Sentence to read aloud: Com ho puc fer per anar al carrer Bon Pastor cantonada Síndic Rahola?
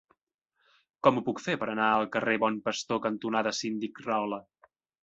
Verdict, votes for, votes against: accepted, 2, 0